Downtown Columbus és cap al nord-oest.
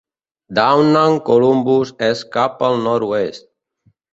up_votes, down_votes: 1, 2